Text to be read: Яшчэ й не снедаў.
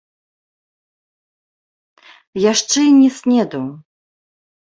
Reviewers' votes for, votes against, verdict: 2, 1, accepted